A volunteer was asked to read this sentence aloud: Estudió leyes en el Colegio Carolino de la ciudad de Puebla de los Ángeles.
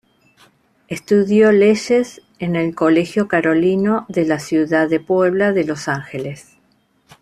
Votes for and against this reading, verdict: 2, 0, accepted